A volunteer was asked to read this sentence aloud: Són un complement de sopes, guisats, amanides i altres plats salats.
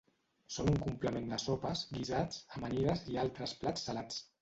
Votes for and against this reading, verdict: 1, 2, rejected